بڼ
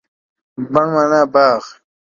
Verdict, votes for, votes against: rejected, 0, 2